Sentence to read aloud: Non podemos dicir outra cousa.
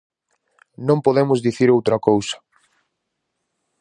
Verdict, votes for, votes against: accepted, 4, 0